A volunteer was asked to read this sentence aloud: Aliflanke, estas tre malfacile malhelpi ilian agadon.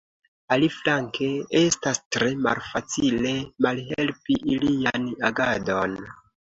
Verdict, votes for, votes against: accepted, 2, 0